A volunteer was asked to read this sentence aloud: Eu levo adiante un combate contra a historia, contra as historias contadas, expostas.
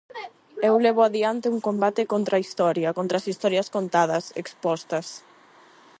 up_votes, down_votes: 0, 8